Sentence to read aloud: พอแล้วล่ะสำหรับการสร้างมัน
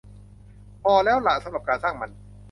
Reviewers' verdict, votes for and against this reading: accepted, 2, 0